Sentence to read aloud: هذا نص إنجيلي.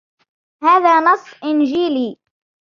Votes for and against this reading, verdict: 2, 0, accepted